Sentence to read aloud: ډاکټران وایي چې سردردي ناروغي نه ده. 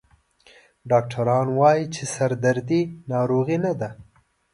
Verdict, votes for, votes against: accepted, 2, 0